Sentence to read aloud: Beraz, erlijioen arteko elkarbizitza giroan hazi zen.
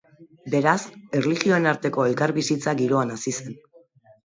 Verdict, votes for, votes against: accepted, 3, 0